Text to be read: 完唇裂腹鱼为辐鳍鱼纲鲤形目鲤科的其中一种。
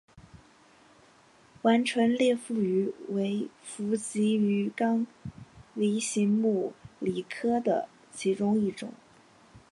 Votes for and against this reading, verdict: 2, 0, accepted